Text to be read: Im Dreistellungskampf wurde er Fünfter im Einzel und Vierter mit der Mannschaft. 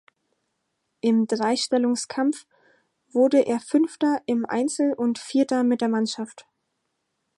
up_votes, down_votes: 4, 0